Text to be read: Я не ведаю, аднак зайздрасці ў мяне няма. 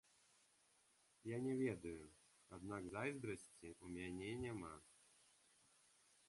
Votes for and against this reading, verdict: 2, 0, accepted